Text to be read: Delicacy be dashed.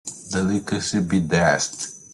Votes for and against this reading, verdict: 2, 0, accepted